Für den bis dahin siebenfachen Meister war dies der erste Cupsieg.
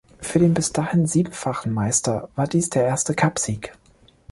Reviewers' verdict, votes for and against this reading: accepted, 2, 0